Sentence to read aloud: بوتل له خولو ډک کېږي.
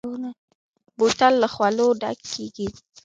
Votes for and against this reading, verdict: 2, 1, accepted